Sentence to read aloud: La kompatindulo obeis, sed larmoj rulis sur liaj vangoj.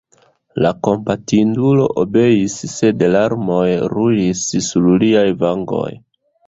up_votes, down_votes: 2, 0